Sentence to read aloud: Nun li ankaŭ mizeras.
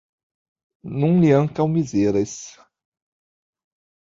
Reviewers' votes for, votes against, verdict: 0, 2, rejected